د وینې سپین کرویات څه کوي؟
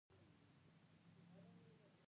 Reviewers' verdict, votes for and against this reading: rejected, 1, 2